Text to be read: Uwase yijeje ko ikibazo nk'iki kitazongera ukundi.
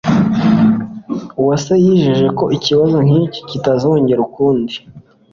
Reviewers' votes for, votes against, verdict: 2, 0, accepted